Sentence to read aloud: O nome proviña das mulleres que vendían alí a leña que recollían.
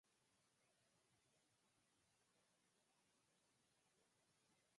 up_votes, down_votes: 0, 4